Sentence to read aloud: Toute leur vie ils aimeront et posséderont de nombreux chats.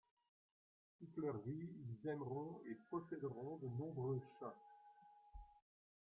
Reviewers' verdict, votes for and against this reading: rejected, 1, 2